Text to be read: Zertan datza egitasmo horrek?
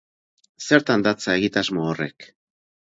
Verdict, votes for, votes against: accepted, 4, 0